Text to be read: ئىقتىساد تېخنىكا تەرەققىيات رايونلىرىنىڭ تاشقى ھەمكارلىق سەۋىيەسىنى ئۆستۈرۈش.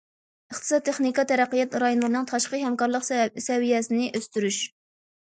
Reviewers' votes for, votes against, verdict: 0, 2, rejected